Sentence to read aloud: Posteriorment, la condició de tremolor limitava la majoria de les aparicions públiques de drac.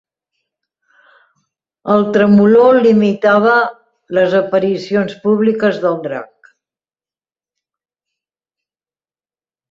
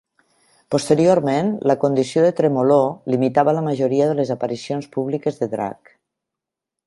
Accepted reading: second